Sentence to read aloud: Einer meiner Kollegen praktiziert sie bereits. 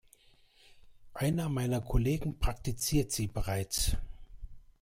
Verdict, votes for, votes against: accepted, 2, 0